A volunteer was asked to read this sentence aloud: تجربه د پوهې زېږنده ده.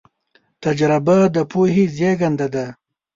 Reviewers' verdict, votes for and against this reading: accepted, 2, 0